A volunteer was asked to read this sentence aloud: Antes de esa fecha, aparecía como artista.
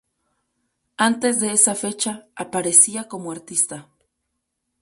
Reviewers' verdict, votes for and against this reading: accepted, 6, 0